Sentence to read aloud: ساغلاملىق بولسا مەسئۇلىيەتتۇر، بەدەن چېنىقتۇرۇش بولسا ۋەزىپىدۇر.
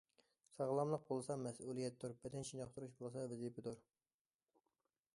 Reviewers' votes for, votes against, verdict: 2, 0, accepted